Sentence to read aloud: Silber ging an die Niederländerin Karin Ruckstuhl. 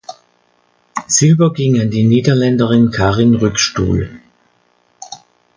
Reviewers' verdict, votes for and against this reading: rejected, 0, 2